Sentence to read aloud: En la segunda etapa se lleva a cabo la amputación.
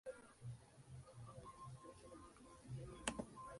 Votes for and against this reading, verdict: 0, 2, rejected